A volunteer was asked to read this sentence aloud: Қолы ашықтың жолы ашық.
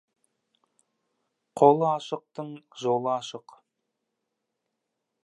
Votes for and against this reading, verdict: 1, 2, rejected